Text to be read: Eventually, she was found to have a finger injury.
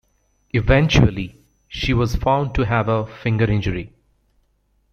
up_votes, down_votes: 2, 0